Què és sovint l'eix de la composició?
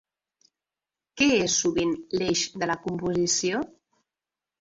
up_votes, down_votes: 1, 2